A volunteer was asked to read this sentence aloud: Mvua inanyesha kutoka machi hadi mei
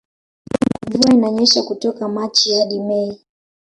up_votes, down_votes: 0, 2